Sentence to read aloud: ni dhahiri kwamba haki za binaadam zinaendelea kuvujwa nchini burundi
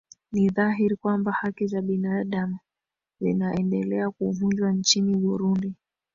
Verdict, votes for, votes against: rejected, 0, 2